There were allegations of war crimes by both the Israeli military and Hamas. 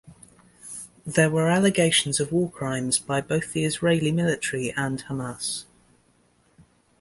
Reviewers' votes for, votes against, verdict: 2, 0, accepted